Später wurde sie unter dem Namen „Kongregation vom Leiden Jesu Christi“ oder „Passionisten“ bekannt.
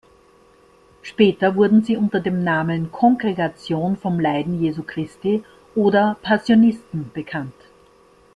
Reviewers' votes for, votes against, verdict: 2, 0, accepted